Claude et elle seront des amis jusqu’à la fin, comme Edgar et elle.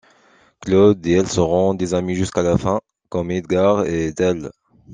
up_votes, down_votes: 1, 2